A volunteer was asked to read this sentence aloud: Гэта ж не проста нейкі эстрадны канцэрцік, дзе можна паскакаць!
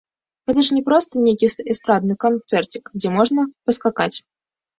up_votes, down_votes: 1, 2